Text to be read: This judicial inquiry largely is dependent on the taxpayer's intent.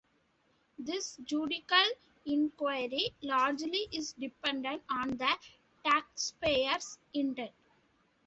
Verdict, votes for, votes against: rejected, 1, 2